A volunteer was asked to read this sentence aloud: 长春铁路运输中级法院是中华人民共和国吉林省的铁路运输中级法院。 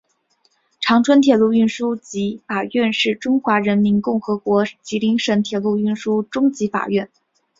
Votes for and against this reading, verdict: 1, 2, rejected